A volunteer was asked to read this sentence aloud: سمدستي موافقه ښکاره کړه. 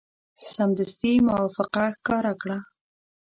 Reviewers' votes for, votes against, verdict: 2, 0, accepted